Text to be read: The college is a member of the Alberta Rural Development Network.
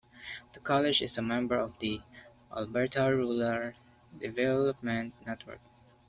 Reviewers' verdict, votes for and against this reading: rejected, 1, 2